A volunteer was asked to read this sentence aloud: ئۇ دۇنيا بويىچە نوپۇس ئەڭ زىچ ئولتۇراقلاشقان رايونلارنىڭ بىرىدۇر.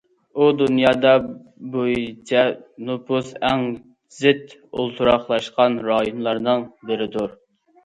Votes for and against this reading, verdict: 0, 2, rejected